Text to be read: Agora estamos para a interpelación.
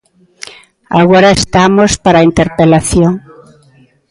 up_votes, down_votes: 1, 2